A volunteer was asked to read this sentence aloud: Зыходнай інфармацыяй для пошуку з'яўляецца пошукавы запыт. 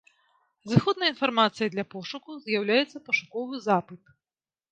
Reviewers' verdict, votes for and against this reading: rejected, 1, 2